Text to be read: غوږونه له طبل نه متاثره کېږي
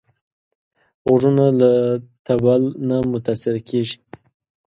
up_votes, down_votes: 2, 0